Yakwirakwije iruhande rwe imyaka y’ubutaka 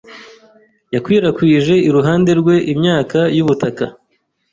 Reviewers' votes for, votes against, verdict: 2, 0, accepted